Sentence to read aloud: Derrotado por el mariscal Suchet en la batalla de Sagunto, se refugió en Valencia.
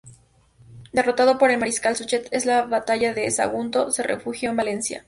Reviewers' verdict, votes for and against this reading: rejected, 0, 2